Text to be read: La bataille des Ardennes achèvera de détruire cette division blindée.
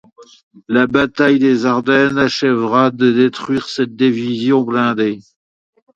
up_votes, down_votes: 2, 0